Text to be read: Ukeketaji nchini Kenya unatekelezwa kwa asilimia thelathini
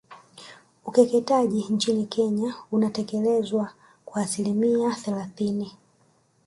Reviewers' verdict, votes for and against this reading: accepted, 2, 0